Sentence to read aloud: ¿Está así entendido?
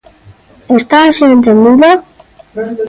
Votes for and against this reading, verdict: 2, 1, accepted